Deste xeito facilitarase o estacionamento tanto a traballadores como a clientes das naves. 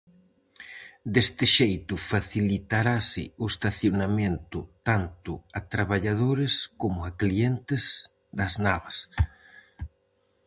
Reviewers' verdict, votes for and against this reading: rejected, 0, 4